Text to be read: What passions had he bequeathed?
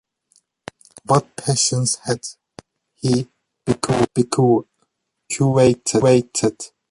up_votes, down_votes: 0, 3